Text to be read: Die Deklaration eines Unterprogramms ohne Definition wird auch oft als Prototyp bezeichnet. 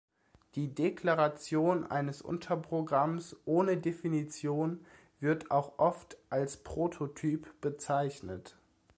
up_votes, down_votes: 2, 0